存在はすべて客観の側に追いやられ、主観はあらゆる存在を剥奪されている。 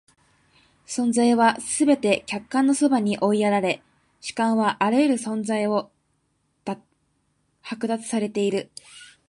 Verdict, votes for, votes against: rejected, 1, 2